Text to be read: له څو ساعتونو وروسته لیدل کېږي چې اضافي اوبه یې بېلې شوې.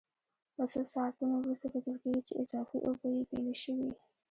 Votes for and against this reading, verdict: 1, 2, rejected